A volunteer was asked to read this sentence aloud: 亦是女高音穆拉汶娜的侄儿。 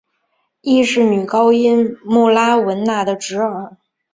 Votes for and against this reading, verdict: 2, 0, accepted